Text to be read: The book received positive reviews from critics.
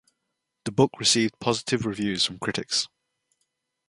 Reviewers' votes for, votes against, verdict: 2, 0, accepted